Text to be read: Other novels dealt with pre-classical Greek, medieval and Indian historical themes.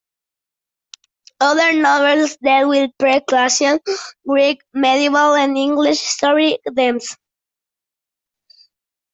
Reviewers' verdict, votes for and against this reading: rejected, 0, 2